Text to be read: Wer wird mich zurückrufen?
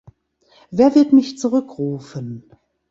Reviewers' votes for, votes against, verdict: 2, 0, accepted